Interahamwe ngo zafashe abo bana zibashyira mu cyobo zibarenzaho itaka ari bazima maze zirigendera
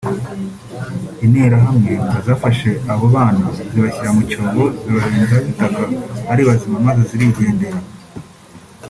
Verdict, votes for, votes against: accepted, 2, 0